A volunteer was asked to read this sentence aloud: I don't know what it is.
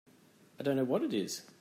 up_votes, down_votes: 2, 0